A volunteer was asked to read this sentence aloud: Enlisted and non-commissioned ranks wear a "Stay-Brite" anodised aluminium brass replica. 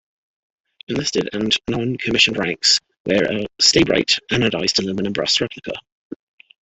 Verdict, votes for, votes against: accepted, 2, 1